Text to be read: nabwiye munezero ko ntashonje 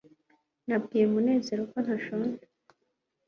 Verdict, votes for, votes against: accepted, 2, 0